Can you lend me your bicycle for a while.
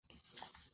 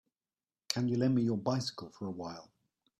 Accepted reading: second